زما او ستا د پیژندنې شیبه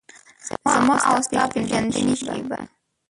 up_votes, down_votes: 1, 2